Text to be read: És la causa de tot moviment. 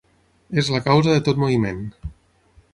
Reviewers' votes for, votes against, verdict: 6, 0, accepted